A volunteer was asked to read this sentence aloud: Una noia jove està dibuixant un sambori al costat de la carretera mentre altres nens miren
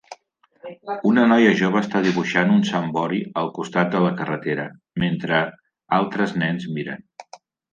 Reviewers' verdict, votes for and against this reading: accepted, 2, 0